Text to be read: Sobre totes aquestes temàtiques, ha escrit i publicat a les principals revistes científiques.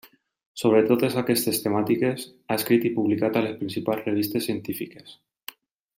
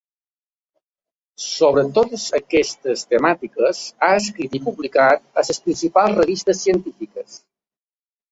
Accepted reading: first